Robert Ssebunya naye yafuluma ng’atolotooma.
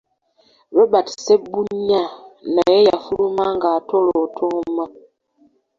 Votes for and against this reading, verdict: 1, 2, rejected